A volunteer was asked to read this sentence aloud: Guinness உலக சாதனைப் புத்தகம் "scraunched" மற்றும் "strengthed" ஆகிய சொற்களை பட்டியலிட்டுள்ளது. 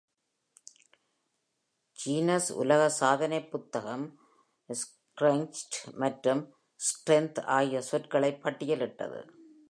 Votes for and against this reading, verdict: 2, 0, accepted